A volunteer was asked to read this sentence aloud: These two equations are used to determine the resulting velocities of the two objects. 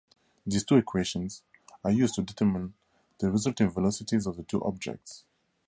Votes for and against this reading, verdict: 2, 0, accepted